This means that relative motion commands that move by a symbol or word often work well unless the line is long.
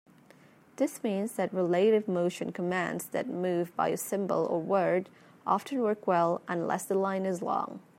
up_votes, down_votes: 2, 0